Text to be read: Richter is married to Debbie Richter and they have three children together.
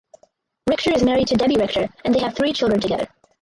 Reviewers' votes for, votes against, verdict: 0, 4, rejected